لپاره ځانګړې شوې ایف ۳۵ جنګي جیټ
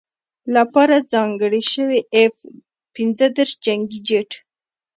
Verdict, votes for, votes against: rejected, 0, 2